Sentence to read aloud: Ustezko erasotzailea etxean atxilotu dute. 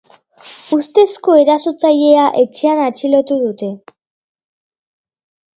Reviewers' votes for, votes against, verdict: 3, 0, accepted